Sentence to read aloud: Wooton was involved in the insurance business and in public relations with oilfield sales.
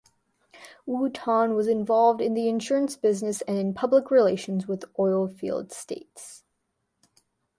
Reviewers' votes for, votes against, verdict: 1, 2, rejected